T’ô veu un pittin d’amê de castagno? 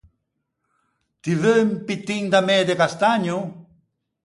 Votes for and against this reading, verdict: 0, 4, rejected